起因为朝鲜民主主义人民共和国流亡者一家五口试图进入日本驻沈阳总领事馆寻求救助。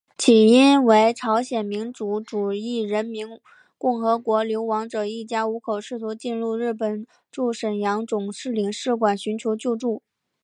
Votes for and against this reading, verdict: 4, 0, accepted